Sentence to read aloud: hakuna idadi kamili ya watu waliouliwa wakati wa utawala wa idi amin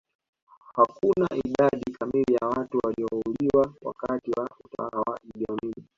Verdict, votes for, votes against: rejected, 0, 2